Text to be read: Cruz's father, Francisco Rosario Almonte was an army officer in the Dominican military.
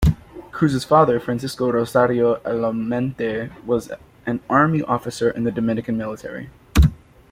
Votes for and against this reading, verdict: 1, 2, rejected